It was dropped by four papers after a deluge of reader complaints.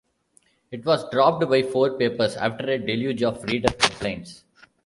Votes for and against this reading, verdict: 1, 2, rejected